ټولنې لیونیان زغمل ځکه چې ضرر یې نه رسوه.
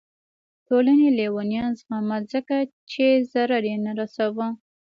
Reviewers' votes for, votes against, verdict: 2, 0, accepted